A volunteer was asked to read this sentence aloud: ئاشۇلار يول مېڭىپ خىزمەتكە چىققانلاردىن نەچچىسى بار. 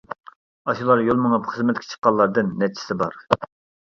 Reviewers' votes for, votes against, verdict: 2, 0, accepted